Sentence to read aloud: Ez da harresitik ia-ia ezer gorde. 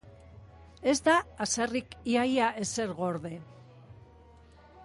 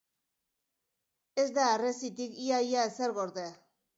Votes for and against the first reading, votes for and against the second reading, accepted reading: 1, 2, 2, 0, second